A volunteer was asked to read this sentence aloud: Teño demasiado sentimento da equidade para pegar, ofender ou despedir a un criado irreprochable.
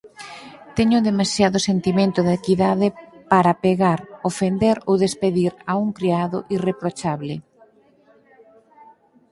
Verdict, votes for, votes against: accepted, 4, 0